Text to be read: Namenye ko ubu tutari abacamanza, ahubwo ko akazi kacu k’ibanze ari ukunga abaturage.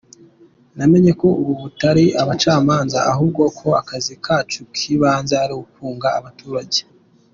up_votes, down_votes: 2, 0